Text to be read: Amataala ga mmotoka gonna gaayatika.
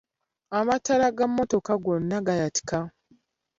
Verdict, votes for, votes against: accepted, 2, 0